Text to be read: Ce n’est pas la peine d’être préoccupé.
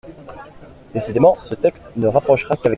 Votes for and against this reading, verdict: 0, 2, rejected